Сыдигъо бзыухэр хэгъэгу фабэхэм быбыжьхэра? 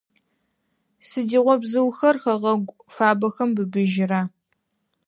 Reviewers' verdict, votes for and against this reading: rejected, 2, 4